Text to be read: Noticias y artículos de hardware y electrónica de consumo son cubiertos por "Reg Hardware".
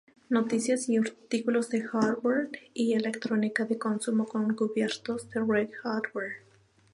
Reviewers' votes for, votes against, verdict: 2, 0, accepted